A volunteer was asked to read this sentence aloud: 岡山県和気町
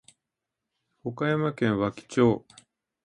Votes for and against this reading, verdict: 2, 0, accepted